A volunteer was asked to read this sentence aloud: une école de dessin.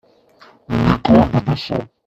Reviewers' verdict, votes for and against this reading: rejected, 0, 2